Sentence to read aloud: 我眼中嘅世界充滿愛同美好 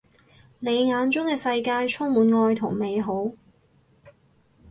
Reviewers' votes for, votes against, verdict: 2, 4, rejected